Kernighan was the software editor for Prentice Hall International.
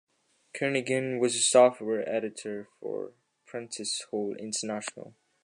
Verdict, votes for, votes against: rejected, 1, 2